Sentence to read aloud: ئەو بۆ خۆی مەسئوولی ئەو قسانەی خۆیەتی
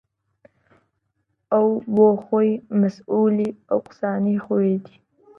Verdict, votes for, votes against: accepted, 2, 0